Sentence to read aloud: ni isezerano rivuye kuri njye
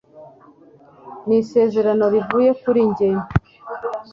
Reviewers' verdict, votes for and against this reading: accepted, 2, 0